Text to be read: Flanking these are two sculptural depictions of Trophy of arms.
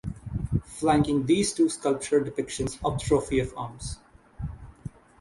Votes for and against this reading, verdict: 0, 6, rejected